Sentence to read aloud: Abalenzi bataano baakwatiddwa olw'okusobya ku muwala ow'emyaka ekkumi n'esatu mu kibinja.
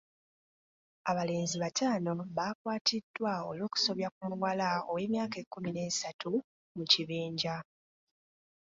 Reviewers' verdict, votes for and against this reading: accepted, 2, 0